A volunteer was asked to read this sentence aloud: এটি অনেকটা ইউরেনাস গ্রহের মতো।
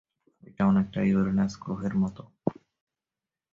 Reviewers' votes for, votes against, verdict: 2, 1, accepted